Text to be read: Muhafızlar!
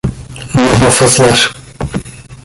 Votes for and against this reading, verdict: 0, 2, rejected